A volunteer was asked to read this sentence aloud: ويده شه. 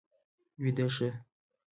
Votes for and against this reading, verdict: 2, 0, accepted